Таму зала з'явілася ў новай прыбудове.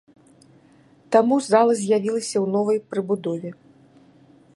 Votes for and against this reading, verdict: 2, 0, accepted